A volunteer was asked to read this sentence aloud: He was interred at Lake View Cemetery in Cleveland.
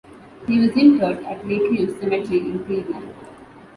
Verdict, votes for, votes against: rejected, 1, 2